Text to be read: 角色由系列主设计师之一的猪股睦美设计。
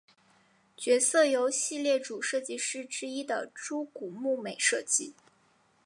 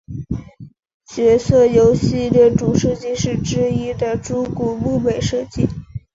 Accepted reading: first